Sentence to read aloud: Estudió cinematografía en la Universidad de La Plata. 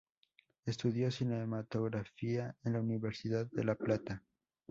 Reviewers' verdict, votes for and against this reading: accepted, 2, 0